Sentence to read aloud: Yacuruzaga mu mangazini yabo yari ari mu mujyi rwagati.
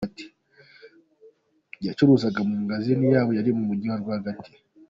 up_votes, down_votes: 0, 2